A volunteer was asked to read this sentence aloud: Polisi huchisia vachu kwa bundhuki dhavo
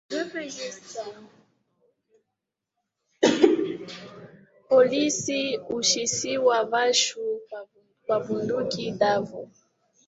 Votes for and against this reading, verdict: 0, 2, rejected